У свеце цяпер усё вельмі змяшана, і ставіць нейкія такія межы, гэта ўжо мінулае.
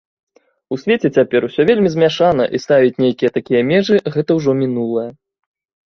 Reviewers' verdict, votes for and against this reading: accepted, 2, 0